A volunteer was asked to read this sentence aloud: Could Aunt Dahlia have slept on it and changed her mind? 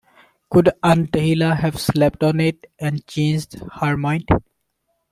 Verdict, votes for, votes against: accepted, 2, 1